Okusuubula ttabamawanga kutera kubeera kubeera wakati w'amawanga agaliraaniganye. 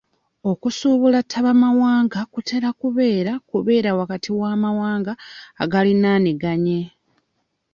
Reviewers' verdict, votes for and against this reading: rejected, 1, 2